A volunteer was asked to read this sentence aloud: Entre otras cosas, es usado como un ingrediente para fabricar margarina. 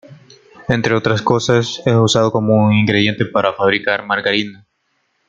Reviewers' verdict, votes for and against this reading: accepted, 2, 0